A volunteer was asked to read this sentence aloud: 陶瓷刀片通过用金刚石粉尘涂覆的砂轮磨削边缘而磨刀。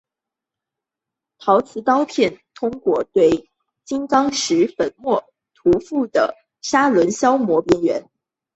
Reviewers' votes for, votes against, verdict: 2, 3, rejected